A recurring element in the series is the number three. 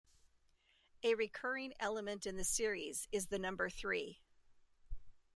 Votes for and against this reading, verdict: 2, 0, accepted